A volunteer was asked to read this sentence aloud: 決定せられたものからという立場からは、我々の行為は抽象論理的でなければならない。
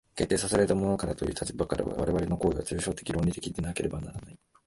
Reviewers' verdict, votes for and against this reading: rejected, 0, 2